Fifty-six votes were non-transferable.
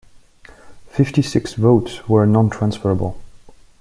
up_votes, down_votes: 2, 0